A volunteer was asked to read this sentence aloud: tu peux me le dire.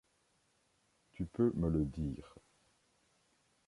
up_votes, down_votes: 2, 0